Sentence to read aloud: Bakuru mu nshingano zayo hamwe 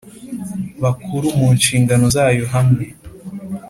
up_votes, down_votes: 2, 0